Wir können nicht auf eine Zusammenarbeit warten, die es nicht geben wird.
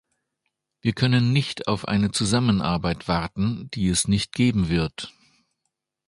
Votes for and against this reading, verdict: 2, 0, accepted